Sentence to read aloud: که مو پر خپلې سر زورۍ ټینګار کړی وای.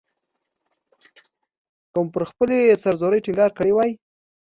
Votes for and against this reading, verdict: 2, 0, accepted